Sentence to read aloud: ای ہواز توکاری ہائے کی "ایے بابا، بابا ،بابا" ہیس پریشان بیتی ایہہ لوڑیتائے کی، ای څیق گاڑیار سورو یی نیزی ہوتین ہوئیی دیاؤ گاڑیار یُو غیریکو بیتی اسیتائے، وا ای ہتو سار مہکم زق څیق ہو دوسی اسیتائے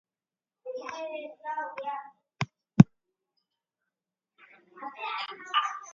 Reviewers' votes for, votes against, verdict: 0, 2, rejected